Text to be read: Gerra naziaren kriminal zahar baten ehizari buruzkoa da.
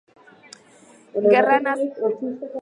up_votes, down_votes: 0, 2